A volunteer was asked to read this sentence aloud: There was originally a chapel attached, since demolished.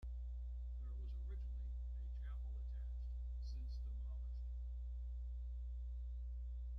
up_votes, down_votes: 0, 2